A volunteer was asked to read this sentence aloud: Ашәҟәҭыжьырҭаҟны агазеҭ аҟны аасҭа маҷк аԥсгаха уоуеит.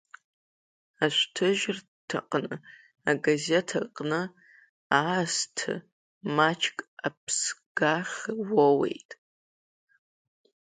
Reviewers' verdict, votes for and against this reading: rejected, 0, 2